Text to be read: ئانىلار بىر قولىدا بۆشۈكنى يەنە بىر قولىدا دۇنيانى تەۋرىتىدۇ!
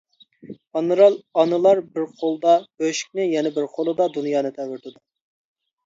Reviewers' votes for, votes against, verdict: 0, 2, rejected